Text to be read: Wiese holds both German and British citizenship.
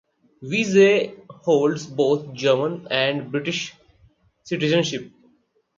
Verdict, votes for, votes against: accepted, 4, 2